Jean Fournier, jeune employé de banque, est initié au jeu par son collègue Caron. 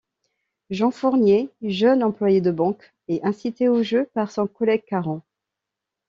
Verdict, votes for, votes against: rejected, 0, 2